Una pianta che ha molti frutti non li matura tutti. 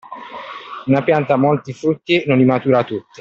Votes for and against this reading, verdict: 2, 1, accepted